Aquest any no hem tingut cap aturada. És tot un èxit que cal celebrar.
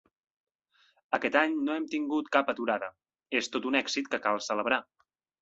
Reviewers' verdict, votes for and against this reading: accepted, 3, 0